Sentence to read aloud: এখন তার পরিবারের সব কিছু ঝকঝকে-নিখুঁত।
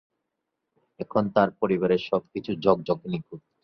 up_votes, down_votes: 0, 2